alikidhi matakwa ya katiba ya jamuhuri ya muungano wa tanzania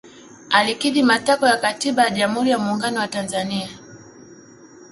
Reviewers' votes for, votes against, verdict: 2, 0, accepted